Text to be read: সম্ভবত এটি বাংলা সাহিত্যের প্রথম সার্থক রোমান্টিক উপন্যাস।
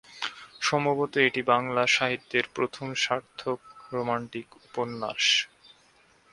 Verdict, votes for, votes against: accepted, 6, 1